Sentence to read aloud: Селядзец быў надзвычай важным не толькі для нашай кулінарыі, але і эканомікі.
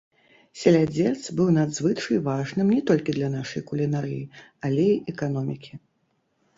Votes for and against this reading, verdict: 0, 3, rejected